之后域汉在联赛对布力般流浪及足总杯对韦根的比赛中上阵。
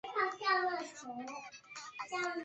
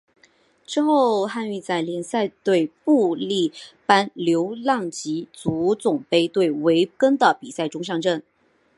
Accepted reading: second